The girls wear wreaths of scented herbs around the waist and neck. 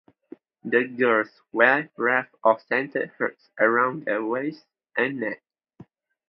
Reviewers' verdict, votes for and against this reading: accepted, 2, 0